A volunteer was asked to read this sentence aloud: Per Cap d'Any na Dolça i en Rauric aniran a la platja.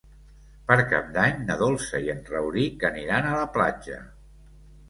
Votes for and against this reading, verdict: 3, 0, accepted